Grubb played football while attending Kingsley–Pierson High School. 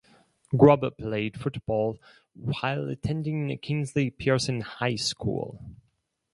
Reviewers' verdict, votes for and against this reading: rejected, 0, 4